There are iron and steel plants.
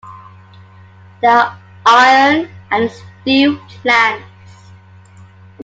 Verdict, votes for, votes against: accepted, 2, 0